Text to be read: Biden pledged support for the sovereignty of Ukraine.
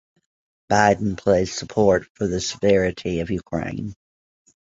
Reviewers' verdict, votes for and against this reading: rejected, 1, 2